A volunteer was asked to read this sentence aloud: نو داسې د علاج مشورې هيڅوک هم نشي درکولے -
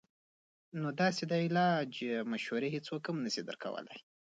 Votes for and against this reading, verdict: 2, 1, accepted